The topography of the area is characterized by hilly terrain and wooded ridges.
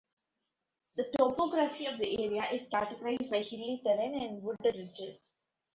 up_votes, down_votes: 1, 2